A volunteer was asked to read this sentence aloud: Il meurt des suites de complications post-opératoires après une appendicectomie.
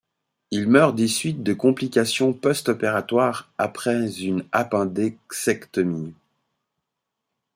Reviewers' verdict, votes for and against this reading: rejected, 1, 2